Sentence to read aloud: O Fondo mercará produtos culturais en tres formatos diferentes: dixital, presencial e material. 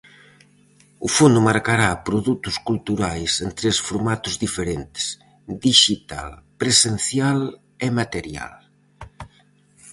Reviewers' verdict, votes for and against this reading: rejected, 0, 4